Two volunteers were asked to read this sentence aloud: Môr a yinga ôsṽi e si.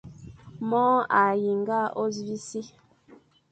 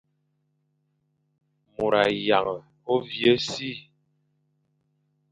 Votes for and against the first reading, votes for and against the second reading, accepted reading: 2, 0, 1, 2, first